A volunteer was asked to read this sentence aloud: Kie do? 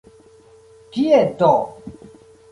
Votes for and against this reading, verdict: 1, 2, rejected